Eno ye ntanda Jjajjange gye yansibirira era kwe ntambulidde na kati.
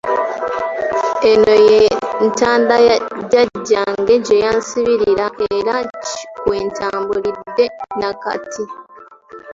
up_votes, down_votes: 1, 2